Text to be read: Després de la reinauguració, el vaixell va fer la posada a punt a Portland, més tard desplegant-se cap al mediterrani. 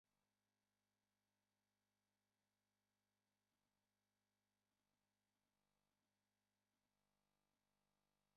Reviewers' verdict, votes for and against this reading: rejected, 0, 3